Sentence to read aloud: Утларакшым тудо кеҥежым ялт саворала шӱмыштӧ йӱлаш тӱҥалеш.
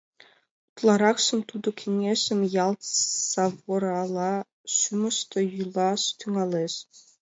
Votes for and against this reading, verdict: 2, 1, accepted